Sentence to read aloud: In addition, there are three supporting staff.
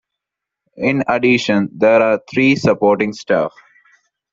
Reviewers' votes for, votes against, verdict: 2, 1, accepted